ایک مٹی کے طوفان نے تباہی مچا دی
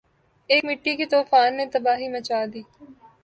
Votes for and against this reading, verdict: 2, 0, accepted